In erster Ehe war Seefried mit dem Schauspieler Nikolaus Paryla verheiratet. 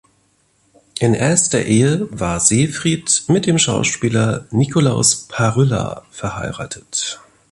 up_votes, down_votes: 3, 0